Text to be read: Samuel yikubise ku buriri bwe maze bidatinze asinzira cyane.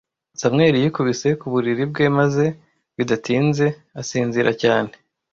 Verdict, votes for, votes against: accepted, 3, 0